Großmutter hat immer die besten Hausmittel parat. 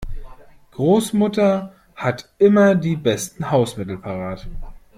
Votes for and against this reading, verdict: 2, 0, accepted